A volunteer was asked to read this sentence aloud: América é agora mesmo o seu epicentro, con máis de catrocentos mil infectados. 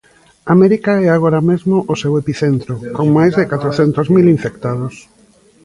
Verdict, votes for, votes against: accepted, 2, 1